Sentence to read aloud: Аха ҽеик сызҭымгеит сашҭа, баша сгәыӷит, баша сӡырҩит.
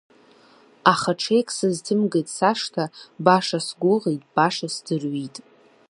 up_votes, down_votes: 2, 0